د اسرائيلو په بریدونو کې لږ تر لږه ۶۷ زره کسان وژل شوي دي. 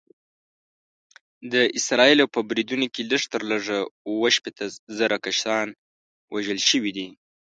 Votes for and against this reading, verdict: 0, 2, rejected